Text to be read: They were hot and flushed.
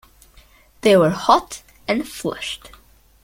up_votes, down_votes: 2, 0